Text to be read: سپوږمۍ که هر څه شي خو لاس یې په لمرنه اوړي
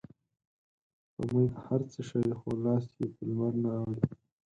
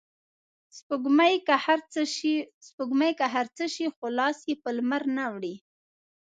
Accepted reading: first